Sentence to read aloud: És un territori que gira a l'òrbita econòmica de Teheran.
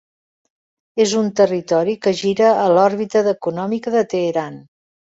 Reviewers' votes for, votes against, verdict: 1, 2, rejected